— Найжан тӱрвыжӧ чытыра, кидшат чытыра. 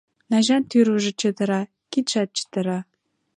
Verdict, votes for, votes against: accepted, 2, 0